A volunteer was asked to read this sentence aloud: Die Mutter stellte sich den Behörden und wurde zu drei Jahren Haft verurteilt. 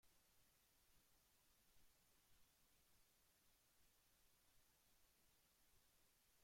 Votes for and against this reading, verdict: 0, 3, rejected